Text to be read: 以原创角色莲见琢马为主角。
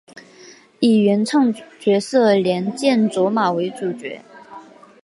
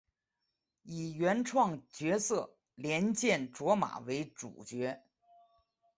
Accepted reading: first